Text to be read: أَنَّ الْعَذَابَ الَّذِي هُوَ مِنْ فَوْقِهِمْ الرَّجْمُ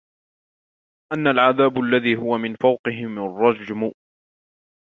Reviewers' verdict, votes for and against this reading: rejected, 0, 2